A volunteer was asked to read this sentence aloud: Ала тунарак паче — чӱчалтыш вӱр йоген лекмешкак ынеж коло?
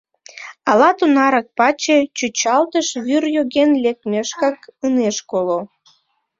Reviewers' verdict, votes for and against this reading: rejected, 1, 2